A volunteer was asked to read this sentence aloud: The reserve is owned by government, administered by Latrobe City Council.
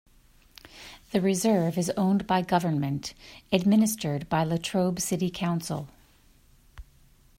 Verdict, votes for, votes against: accepted, 2, 0